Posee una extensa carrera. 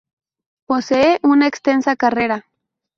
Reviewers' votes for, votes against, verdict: 2, 0, accepted